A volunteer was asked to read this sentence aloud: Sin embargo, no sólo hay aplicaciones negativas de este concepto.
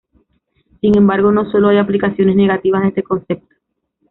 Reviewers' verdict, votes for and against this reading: accepted, 2, 0